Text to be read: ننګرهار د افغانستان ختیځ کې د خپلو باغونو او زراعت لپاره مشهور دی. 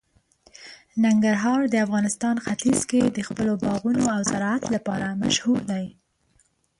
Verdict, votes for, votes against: accepted, 2, 0